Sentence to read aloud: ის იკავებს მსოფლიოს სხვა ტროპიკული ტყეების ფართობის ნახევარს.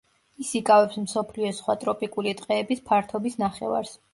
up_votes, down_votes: 2, 0